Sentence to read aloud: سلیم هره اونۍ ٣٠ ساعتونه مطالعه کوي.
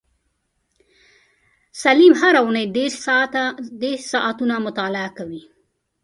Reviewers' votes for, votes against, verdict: 0, 2, rejected